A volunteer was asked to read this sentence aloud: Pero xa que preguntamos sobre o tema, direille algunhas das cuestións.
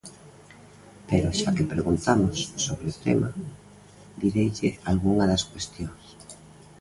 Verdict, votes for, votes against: rejected, 0, 2